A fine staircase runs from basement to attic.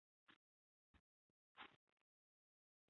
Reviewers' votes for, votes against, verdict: 0, 2, rejected